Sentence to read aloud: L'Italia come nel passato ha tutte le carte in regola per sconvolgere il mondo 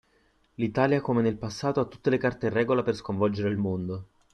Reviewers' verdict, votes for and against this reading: accepted, 2, 0